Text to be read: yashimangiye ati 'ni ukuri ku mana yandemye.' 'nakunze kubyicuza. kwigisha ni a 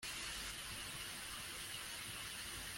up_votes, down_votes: 1, 2